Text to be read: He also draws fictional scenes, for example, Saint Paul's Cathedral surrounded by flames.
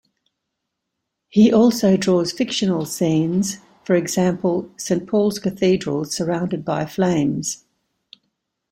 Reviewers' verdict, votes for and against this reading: accepted, 2, 0